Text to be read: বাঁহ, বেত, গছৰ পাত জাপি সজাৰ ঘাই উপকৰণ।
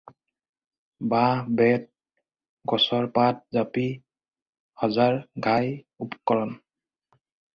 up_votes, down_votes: 2, 0